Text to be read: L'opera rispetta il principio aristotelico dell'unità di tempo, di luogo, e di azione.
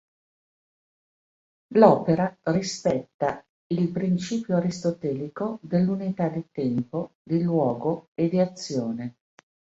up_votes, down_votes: 2, 1